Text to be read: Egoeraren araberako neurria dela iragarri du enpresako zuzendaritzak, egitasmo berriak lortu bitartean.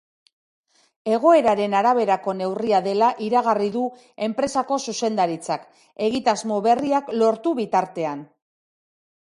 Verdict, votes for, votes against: accepted, 3, 0